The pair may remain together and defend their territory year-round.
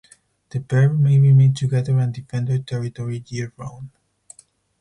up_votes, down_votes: 4, 2